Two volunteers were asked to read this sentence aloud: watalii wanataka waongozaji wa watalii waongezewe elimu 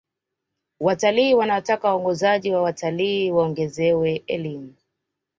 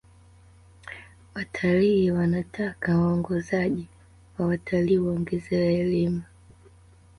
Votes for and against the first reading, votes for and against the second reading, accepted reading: 2, 0, 1, 2, first